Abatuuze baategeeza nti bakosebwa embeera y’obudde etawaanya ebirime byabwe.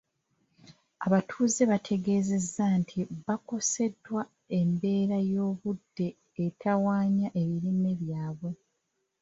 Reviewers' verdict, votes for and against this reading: rejected, 1, 2